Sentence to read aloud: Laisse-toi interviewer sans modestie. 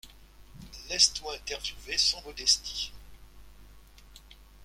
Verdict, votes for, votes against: rejected, 1, 2